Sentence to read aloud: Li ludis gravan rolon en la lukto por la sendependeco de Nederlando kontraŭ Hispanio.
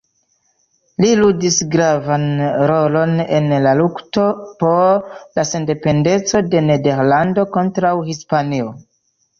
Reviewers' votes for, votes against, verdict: 0, 2, rejected